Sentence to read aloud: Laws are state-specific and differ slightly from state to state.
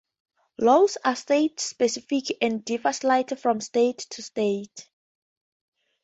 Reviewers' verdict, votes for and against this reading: accepted, 2, 0